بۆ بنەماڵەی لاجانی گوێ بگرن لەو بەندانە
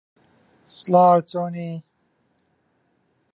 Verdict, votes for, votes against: rejected, 0, 2